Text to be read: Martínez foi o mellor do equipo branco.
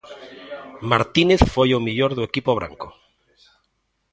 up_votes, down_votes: 2, 0